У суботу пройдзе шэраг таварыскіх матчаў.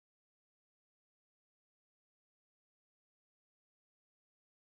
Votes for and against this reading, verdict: 0, 2, rejected